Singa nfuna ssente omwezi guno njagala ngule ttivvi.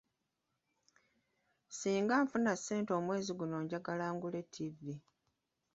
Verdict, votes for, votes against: accepted, 2, 1